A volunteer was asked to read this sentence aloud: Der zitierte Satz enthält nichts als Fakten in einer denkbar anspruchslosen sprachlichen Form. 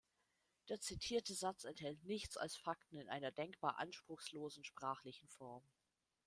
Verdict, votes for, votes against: accepted, 2, 0